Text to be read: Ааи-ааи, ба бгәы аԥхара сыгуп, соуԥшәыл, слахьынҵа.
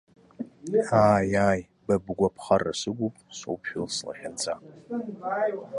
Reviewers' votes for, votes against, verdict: 0, 2, rejected